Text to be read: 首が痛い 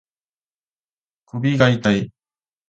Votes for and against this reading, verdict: 1, 2, rejected